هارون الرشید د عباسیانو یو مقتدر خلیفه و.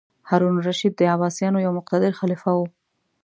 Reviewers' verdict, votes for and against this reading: accepted, 2, 0